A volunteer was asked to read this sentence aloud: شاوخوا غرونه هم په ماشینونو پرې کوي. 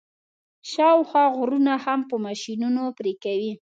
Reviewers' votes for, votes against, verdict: 2, 0, accepted